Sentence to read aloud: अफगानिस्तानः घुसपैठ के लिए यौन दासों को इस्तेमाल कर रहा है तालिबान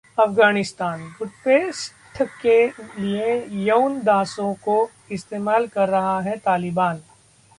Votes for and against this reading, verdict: 0, 2, rejected